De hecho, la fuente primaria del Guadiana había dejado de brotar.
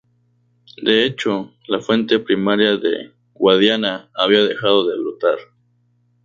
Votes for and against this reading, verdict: 0, 2, rejected